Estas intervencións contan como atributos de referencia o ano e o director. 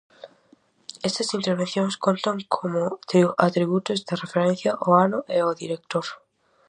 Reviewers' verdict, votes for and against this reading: rejected, 0, 4